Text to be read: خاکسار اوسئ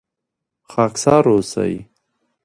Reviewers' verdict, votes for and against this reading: accepted, 2, 1